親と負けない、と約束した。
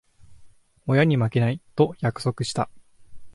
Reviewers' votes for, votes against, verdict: 0, 2, rejected